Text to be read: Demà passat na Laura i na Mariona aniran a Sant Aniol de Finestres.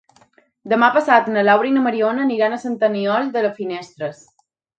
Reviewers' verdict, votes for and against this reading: rejected, 1, 2